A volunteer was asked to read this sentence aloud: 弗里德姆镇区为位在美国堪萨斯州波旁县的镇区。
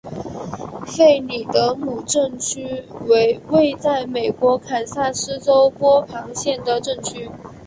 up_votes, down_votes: 2, 0